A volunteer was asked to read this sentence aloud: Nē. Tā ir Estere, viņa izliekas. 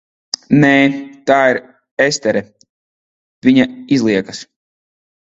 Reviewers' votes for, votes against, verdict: 3, 0, accepted